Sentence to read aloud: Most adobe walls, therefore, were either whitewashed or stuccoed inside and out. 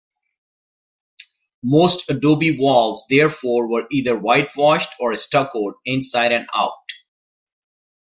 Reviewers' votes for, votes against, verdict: 2, 0, accepted